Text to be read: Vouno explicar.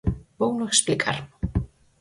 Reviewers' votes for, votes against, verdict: 4, 0, accepted